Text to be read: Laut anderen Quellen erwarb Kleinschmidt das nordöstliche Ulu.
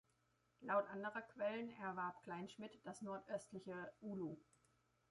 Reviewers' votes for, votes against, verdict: 0, 2, rejected